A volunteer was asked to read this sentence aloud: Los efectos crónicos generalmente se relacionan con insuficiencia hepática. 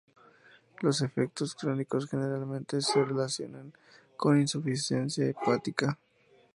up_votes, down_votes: 4, 0